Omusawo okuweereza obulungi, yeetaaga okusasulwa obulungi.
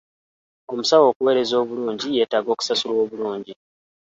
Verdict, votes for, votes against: rejected, 1, 2